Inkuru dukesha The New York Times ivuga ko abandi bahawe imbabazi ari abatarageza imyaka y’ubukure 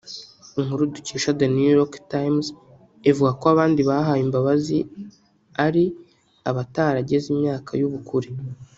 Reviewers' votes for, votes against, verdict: 2, 0, accepted